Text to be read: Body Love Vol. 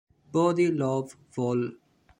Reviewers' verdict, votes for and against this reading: accepted, 2, 0